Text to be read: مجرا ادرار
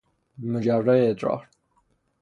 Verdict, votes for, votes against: rejected, 0, 3